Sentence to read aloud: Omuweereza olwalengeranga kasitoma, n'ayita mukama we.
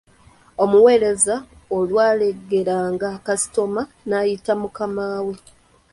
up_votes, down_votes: 1, 2